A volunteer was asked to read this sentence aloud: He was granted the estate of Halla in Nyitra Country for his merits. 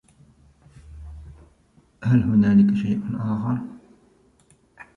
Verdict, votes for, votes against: rejected, 0, 4